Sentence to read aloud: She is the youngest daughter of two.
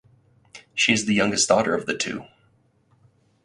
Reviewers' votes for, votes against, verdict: 0, 4, rejected